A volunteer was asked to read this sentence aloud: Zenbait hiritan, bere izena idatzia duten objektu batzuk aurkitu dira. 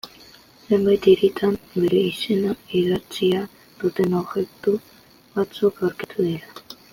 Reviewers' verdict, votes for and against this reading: accepted, 2, 0